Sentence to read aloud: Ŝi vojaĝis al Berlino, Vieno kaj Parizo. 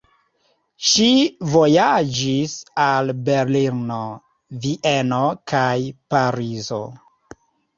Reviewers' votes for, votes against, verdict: 2, 0, accepted